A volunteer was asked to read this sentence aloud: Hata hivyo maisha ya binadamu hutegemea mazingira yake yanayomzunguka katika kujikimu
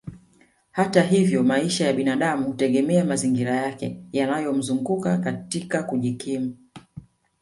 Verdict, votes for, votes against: rejected, 1, 2